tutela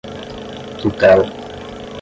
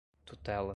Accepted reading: second